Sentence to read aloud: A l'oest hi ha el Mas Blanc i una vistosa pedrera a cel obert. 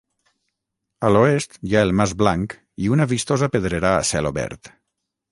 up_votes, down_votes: 3, 3